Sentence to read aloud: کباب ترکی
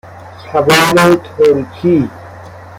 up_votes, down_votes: 1, 2